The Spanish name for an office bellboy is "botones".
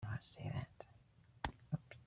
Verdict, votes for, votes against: rejected, 0, 3